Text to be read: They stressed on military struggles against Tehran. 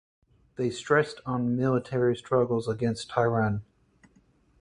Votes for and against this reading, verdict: 4, 0, accepted